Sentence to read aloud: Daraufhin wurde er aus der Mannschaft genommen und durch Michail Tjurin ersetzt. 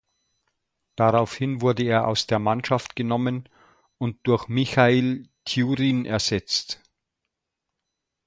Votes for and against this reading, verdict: 2, 0, accepted